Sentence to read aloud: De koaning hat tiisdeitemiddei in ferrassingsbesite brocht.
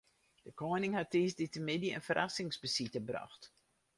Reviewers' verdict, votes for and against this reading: rejected, 2, 2